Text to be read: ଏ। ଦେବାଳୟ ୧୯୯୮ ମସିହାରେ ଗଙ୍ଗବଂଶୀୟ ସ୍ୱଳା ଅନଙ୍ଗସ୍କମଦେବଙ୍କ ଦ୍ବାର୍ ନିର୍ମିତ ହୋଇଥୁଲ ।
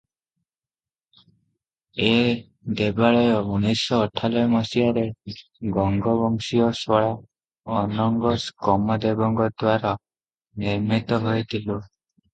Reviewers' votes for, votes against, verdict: 0, 2, rejected